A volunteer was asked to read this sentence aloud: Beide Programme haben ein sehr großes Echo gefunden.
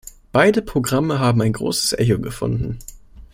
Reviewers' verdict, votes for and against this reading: rejected, 1, 2